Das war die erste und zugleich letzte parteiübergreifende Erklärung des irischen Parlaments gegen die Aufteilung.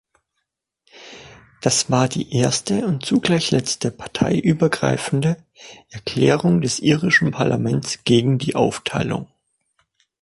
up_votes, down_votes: 2, 0